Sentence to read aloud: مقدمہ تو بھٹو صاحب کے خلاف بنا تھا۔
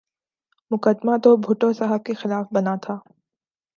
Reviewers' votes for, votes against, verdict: 2, 0, accepted